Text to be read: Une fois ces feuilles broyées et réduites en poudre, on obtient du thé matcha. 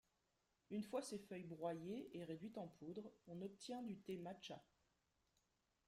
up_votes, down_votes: 1, 2